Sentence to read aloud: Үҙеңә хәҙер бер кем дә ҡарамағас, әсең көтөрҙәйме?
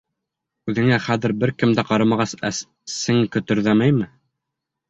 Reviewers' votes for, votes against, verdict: 1, 2, rejected